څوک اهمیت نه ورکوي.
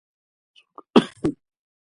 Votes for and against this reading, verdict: 0, 2, rejected